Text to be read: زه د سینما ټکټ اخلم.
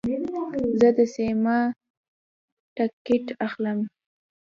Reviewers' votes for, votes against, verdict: 1, 2, rejected